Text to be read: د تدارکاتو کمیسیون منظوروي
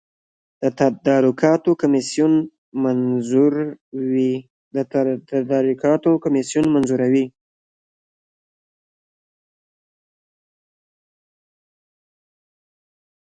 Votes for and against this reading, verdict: 2, 1, accepted